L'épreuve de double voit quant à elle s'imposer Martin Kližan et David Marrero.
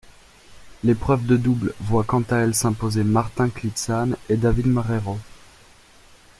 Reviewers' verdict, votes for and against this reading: rejected, 0, 2